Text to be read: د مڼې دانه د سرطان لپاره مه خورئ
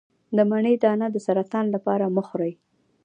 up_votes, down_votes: 2, 0